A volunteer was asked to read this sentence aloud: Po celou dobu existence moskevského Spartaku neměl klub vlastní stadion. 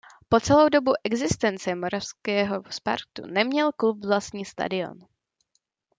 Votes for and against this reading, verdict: 0, 2, rejected